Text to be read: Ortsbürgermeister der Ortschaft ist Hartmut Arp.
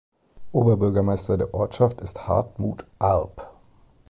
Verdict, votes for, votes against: rejected, 1, 2